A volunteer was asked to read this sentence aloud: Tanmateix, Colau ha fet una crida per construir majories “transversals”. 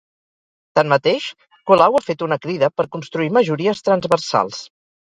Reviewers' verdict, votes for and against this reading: rejected, 0, 2